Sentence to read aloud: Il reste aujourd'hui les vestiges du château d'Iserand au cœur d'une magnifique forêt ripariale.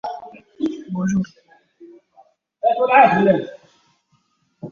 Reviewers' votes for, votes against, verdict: 0, 2, rejected